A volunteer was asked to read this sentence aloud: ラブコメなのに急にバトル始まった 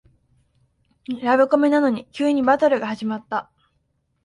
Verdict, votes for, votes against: rejected, 0, 3